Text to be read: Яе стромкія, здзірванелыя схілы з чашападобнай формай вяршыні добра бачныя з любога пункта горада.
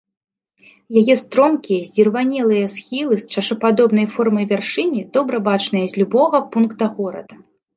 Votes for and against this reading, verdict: 2, 0, accepted